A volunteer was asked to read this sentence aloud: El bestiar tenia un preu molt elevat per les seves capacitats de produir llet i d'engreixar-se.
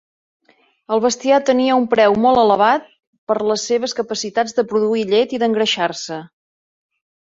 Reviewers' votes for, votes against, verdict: 3, 0, accepted